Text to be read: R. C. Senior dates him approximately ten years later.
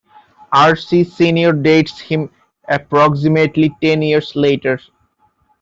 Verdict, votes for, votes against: rejected, 1, 2